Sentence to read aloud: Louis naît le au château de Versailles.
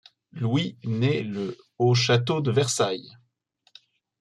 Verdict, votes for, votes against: accepted, 2, 0